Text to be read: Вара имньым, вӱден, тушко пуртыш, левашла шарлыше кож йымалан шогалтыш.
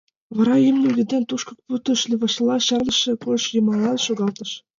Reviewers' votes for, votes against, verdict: 1, 2, rejected